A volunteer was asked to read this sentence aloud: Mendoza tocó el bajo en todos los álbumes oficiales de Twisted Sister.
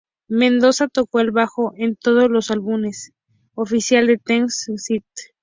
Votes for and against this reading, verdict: 0, 2, rejected